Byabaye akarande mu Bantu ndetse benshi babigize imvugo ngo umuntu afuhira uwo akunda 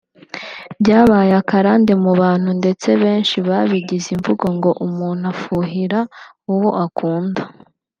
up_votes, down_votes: 0, 2